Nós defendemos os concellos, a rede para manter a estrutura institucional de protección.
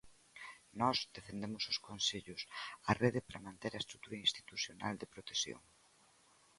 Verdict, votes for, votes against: accepted, 2, 0